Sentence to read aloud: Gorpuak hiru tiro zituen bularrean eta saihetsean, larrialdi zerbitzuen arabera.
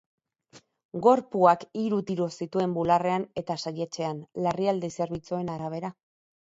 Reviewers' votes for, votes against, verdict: 4, 0, accepted